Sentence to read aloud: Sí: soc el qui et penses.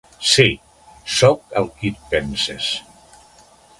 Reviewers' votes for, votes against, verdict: 3, 0, accepted